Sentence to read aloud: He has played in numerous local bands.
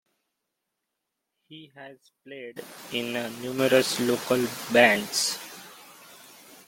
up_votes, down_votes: 2, 0